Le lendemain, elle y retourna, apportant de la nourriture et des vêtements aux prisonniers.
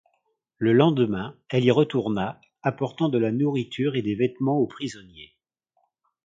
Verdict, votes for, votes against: accepted, 2, 0